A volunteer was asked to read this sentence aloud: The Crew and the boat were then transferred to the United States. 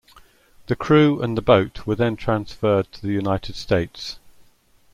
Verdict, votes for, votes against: accepted, 2, 0